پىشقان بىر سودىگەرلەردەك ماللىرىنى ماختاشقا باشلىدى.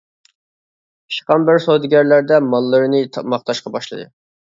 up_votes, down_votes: 0, 2